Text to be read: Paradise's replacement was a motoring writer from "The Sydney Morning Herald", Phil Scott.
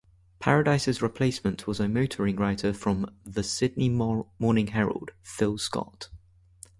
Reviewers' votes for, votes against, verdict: 0, 2, rejected